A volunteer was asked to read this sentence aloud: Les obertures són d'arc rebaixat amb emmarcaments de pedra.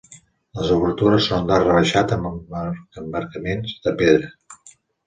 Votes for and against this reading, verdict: 1, 2, rejected